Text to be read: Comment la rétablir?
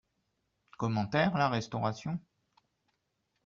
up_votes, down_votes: 0, 2